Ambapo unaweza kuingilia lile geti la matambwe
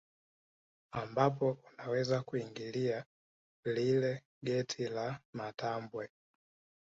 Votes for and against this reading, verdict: 2, 0, accepted